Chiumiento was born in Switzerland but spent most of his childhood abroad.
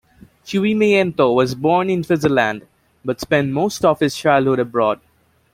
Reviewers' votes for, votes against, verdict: 1, 2, rejected